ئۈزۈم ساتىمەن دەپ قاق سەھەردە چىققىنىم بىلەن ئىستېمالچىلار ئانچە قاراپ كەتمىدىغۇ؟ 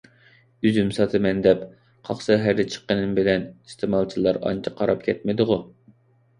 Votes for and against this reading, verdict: 2, 0, accepted